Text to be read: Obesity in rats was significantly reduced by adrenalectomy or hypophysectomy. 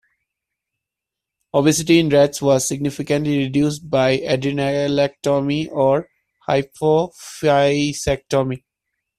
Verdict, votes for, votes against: rejected, 0, 2